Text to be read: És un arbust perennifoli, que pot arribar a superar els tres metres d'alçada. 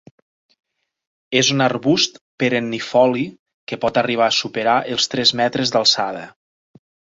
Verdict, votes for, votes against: accepted, 2, 0